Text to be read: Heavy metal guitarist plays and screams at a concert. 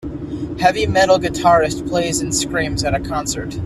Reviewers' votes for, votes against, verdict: 2, 0, accepted